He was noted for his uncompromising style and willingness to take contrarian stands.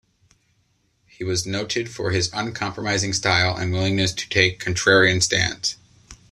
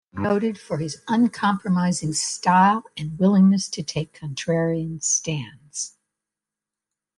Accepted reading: first